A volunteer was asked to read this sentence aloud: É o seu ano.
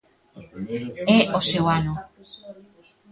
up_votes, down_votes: 2, 1